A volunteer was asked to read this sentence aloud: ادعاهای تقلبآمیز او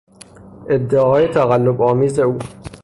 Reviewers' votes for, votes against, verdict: 3, 0, accepted